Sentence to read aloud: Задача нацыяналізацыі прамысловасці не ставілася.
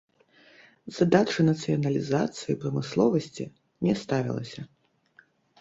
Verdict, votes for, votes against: rejected, 1, 2